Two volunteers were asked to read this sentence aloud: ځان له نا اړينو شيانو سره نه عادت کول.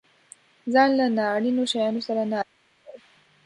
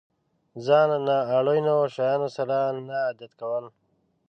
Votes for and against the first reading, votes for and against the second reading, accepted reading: 0, 2, 2, 0, second